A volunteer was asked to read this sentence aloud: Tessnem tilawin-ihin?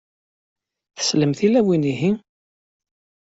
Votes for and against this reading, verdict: 0, 2, rejected